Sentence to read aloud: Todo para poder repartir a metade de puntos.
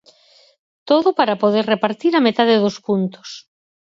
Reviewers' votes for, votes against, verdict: 0, 4, rejected